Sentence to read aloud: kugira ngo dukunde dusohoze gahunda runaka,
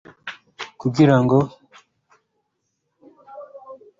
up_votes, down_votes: 0, 2